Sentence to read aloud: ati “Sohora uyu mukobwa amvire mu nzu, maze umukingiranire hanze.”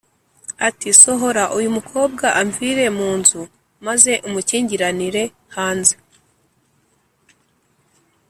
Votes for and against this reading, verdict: 2, 0, accepted